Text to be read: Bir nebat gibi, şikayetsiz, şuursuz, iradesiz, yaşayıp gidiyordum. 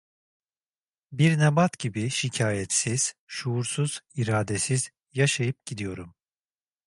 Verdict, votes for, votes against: rejected, 0, 2